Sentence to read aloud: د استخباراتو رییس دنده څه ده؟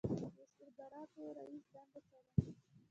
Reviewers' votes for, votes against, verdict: 0, 2, rejected